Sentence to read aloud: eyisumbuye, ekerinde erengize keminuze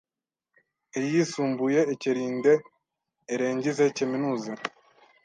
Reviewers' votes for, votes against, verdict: 1, 2, rejected